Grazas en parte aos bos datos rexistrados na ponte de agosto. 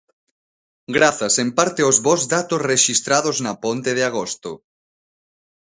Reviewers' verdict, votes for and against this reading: accepted, 2, 0